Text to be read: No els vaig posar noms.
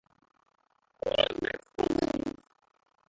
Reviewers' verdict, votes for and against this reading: rejected, 0, 2